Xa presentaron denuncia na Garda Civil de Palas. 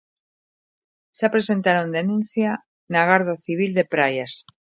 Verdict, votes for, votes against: rejected, 0, 2